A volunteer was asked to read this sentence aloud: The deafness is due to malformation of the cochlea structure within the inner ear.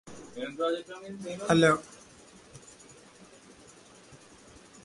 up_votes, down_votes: 0, 2